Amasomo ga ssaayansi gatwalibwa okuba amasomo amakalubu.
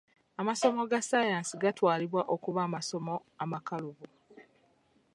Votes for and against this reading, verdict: 2, 1, accepted